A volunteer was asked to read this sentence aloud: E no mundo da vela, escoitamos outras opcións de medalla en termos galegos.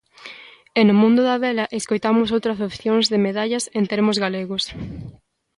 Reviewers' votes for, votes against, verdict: 1, 2, rejected